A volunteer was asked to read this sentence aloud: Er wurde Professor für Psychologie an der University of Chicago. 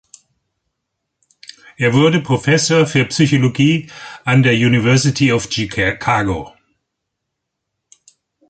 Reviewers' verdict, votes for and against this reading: rejected, 0, 2